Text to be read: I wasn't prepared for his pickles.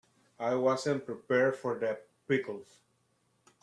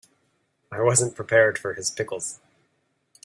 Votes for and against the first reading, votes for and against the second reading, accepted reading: 0, 3, 2, 0, second